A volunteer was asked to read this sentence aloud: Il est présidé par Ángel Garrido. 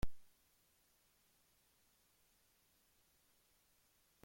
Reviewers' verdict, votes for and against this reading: rejected, 0, 2